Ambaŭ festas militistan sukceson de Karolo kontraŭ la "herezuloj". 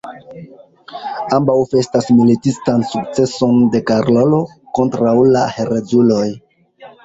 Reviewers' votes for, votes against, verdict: 2, 1, accepted